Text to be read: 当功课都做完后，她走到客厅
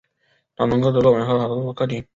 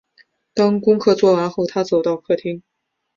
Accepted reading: second